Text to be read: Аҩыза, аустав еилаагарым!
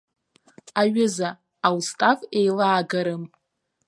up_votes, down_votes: 2, 0